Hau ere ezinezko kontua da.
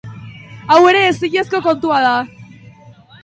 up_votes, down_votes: 2, 1